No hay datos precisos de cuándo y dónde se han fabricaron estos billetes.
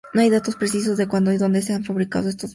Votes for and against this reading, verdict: 0, 4, rejected